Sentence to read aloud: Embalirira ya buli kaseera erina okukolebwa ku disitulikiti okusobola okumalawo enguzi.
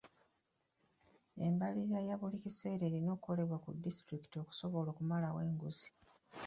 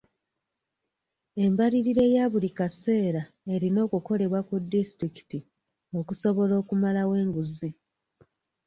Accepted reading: first